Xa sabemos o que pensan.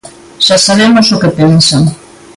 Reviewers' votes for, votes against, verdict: 2, 0, accepted